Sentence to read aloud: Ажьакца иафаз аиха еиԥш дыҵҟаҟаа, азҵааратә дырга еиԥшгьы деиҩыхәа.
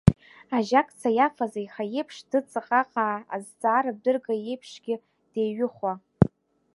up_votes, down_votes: 0, 2